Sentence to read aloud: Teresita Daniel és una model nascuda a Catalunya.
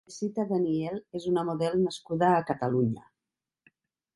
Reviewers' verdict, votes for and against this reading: rejected, 1, 2